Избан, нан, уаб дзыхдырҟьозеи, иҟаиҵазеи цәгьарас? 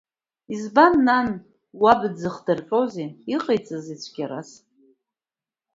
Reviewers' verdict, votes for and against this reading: accepted, 2, 0